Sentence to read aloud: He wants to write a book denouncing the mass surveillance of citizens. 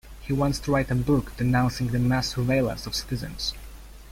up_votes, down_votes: 2, 0